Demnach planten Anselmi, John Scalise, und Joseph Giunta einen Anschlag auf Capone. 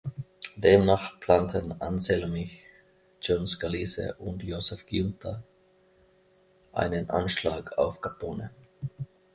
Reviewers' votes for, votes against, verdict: 0, 2, rejected